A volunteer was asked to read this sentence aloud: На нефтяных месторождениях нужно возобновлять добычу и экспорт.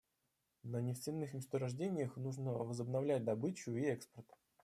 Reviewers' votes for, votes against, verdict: 2, 0, accepted